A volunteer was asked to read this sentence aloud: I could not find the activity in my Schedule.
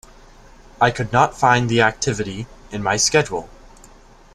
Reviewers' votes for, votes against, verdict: 2, 0, accepted